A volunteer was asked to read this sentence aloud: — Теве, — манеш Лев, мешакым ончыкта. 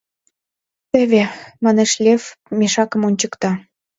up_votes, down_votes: 2, 0